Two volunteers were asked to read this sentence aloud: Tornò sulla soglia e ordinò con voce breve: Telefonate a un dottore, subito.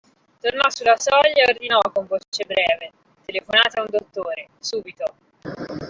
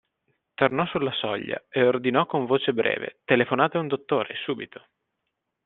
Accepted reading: second